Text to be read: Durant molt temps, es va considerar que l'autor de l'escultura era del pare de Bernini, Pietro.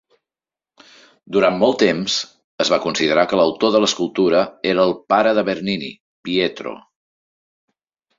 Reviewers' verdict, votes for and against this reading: rejected, 1, 2